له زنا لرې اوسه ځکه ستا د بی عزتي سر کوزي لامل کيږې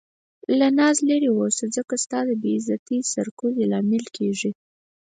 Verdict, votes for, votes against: rejected, 0, 4